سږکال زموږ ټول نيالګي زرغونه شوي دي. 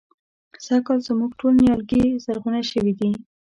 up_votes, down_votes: 1, 2